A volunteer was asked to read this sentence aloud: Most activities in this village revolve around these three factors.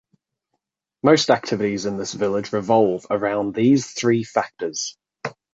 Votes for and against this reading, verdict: 2, 0, accepted